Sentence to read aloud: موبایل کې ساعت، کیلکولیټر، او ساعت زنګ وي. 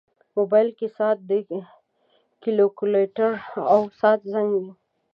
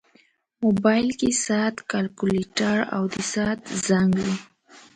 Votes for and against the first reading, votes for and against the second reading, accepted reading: 0, 2, 2, 0, second